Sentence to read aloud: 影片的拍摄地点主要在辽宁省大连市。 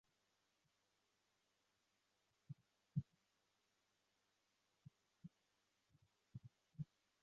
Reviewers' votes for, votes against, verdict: 1, 2, rejected